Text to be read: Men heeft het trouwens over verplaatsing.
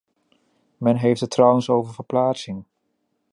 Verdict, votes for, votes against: accepted, 2, 0